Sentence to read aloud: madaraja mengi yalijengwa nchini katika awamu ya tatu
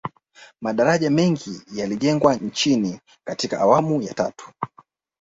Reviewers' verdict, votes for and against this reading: rejected, 1, 2